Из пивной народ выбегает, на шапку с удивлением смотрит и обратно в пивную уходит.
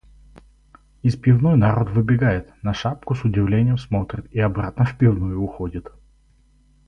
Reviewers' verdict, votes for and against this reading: accepted, 4, 0